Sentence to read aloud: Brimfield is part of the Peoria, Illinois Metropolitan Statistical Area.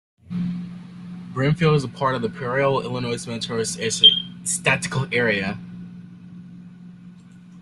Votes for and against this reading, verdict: 1, 2, rejected